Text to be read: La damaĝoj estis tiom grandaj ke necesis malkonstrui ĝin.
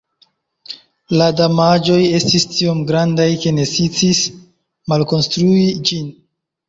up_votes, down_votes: 2, 1